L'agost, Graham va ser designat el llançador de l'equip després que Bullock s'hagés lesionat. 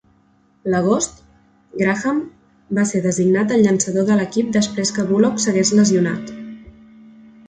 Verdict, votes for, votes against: accepted, 2, 0